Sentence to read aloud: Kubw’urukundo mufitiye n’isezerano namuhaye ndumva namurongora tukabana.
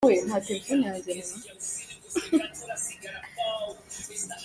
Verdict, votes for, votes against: rejected, 0, 4